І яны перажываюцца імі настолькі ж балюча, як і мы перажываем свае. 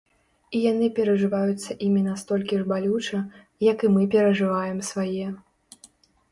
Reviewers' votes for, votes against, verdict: 2, 0, accepted